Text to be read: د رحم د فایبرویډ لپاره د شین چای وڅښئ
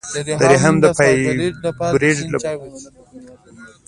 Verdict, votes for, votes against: accepted, 2, 1